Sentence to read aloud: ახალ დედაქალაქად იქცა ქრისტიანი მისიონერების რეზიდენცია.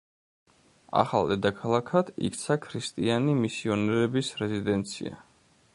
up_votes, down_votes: 0, 2